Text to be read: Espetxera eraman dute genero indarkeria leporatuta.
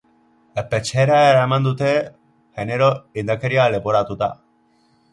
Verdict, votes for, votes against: rejected, 0, 3